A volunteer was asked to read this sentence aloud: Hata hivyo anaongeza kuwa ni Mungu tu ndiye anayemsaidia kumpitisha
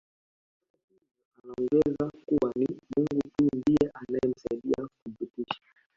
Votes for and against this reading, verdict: 0, 2, rejected